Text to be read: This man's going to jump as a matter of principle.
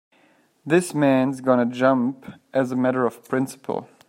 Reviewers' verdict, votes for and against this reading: rejected, 1, 2